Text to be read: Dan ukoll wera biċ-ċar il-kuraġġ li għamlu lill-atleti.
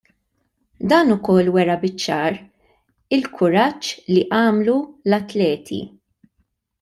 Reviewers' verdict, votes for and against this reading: rejected, 0, 2